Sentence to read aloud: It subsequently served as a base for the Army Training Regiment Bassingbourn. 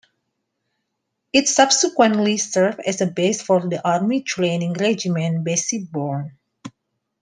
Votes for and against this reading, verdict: 0, 2, rejected